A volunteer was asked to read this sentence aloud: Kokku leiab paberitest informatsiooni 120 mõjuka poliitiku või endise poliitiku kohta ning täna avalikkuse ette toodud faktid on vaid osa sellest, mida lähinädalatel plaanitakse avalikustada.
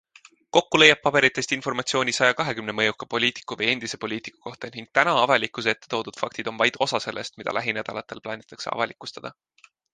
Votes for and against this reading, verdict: 0, 2, rejected